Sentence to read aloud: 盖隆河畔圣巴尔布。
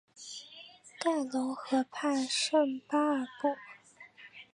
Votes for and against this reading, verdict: 4, 0, accepted